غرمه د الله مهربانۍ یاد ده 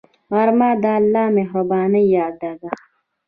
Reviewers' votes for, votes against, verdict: 0, 2, rejected